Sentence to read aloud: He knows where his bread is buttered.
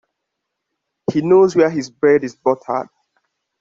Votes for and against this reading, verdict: 1, 2, rejected